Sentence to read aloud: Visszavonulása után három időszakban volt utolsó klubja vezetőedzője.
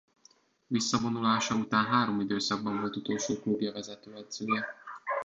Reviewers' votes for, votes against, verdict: 1, 2, rejected